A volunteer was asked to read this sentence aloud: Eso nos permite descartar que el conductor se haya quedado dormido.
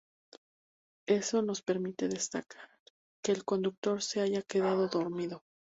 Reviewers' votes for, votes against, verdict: 2, 0, accepted